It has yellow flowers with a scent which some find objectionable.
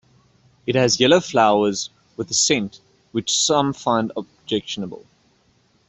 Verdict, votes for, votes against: accepted, 2, 1